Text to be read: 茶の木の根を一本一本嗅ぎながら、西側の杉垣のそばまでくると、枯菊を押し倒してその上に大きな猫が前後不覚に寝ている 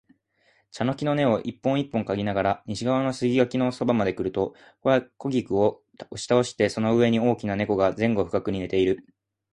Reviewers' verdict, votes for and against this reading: accepted, 2, 1